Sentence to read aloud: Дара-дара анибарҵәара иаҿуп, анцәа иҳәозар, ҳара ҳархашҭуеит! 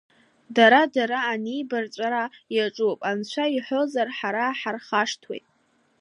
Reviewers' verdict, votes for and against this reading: accepted, 2, 0